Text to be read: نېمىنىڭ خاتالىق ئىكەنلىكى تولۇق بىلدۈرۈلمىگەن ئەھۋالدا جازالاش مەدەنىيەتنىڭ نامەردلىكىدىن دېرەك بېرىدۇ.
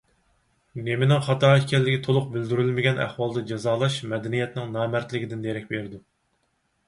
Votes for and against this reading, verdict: 4, 2, accepted